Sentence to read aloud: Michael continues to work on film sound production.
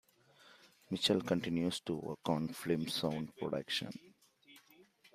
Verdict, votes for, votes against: rejected, 0, 2